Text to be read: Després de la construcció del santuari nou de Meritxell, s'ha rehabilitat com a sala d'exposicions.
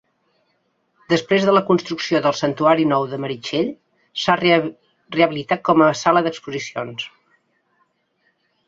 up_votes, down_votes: 0, 3